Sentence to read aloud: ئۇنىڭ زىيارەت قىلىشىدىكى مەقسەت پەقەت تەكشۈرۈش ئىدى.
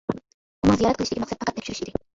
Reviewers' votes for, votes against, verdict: 0, 2, rejected